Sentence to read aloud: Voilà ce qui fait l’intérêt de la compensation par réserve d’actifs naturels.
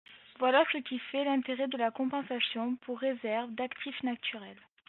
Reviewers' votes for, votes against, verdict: 1, 2, rejected